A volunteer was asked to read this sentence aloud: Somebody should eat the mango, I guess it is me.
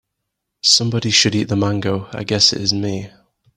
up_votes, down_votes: 2, 0